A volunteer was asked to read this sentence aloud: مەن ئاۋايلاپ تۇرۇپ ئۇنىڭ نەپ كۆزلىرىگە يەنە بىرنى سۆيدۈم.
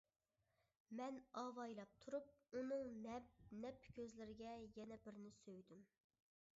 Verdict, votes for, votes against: rejected, 0, 2